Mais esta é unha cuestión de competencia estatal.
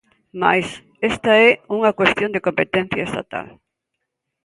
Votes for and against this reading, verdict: 2, 0, accepted